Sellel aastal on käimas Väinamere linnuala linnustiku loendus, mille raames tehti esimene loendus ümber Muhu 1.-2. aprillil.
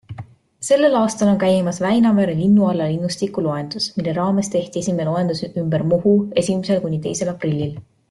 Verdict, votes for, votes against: rejected, 0, 2